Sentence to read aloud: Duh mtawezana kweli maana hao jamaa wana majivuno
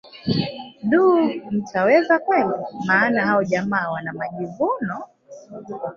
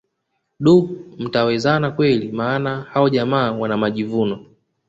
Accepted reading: second